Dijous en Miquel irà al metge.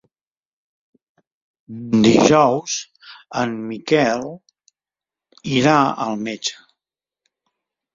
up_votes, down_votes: 3, 0